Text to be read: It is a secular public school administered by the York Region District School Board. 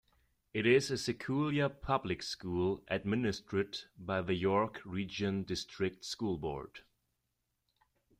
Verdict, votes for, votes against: rejected, 0, 2